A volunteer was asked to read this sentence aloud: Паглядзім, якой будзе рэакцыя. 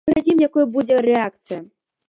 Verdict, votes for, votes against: rejected, 0, 2